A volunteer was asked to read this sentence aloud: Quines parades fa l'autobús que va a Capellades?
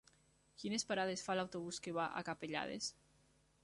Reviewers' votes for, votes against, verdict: 3, 0, accepted